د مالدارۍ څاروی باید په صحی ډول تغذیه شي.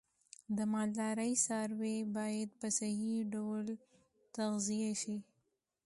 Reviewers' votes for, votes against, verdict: 2, 0, accepted